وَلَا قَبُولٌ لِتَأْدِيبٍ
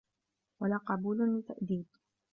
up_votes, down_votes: 2, 0